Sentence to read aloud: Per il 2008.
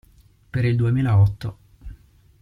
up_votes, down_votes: 0, 2